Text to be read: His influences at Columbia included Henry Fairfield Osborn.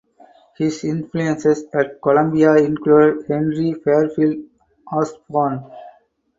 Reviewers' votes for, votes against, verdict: 4, 0, accepted